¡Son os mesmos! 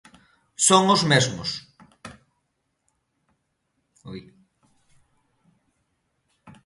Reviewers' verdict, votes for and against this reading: rejected, 0, 2